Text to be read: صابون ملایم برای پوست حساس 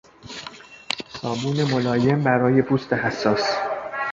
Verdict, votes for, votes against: rejected, 0, 3